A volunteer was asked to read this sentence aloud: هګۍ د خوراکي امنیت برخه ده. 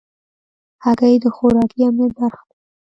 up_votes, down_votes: 2, 0